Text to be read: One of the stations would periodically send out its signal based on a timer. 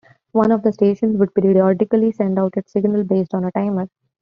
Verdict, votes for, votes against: accepted, 2, 0